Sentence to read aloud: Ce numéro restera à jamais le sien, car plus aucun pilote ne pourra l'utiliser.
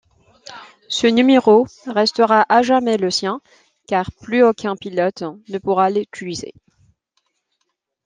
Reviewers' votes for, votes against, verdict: 1, 2, rejected